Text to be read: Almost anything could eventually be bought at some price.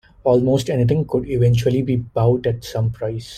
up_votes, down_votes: 2, 1